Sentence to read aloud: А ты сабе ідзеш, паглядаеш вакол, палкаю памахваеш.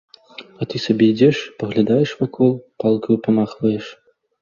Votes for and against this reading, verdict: 2, 0, accepted